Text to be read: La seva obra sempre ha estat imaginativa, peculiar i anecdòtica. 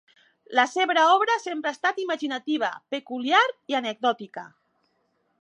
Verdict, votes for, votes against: rejected, 1, 2